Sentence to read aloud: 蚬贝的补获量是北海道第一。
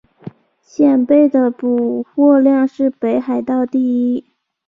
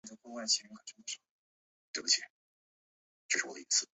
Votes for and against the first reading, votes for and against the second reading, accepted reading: 5, 0, 1, 8, first